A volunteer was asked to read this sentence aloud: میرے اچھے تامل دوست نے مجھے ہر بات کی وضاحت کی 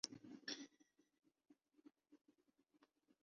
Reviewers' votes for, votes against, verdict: 0, 2, rejected